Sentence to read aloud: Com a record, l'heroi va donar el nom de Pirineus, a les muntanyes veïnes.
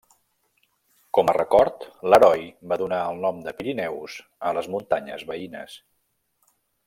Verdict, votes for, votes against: rejected, 1, 2